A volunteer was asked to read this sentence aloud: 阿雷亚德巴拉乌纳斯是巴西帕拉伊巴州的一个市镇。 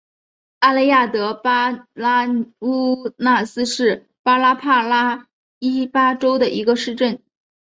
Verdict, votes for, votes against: rejected, 0, 2